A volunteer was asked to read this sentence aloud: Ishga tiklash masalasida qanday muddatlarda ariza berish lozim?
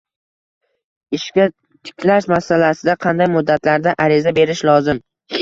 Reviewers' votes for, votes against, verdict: 1, 2, rejected